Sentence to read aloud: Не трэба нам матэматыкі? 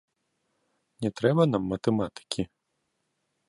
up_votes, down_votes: 2, 0